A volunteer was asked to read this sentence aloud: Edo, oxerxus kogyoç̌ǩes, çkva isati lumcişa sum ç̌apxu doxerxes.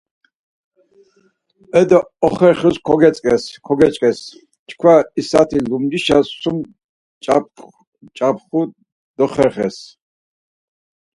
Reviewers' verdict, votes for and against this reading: rejected, 0, 4